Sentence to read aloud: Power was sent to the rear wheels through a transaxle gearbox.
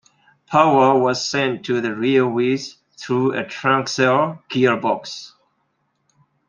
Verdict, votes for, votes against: accepted, 2, 1